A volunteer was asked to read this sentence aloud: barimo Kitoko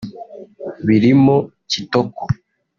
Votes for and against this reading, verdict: 0, 2, rejected